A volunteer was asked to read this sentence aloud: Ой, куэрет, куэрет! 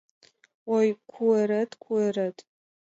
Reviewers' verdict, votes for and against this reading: accepted, 2, 0